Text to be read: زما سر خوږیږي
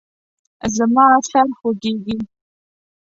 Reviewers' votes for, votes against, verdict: 1, 2, rejected